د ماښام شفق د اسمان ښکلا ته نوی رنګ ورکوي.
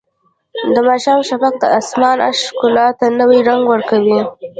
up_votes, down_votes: 1, 2